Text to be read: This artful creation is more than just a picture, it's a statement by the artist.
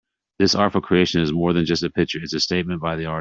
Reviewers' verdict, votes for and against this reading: rejected, 1, 2